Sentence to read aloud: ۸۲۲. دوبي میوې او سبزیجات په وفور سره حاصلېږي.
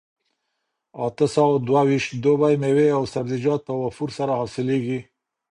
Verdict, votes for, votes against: rejected, 0, 2